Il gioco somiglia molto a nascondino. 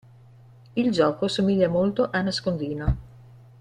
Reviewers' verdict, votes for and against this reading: accepted, 2, 0